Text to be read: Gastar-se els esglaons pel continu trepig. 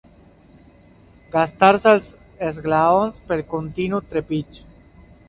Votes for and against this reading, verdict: 2, 0, accepted